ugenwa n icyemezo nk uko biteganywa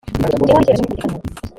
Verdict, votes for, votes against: rejected, 0, 2